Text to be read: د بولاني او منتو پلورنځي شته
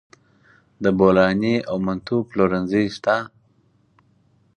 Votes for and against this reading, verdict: 4, 0, accepted